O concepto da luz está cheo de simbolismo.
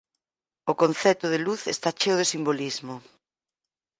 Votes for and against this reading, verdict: 2, 4, rejected